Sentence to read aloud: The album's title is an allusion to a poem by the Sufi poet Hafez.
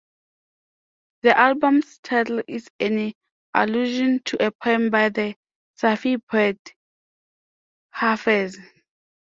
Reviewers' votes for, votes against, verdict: 0, 2, rejected